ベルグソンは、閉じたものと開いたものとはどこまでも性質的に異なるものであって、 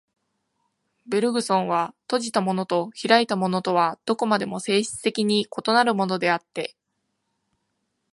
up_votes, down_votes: 2, 0